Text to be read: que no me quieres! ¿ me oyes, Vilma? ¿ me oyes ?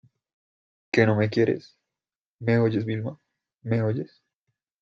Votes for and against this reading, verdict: 2, 0, accepted